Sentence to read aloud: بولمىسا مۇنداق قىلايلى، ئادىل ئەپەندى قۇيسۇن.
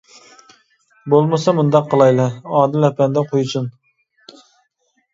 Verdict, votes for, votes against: accepted, 2, 1